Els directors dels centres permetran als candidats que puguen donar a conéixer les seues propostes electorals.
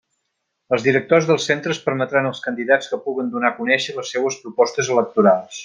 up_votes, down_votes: 2, 0